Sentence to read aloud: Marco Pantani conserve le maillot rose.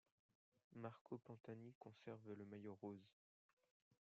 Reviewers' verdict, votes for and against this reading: accepted, 2, 1